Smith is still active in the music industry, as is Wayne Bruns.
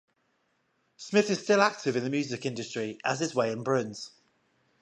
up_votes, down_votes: 5, 0